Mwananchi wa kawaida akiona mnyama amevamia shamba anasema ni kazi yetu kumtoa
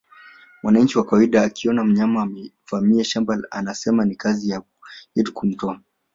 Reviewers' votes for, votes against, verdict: 0, 3, rejected